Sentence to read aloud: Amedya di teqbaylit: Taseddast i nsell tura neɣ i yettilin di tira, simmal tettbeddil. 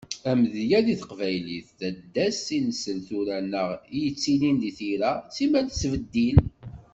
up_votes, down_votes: 1, 2